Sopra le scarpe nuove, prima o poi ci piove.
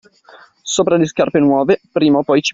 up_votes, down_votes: 0, 2